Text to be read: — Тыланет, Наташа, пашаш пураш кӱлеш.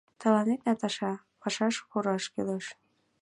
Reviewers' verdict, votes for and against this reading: accepted, 2, 1